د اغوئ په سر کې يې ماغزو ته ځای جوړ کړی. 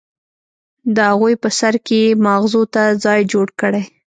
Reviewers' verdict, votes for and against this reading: accepted, 2, 0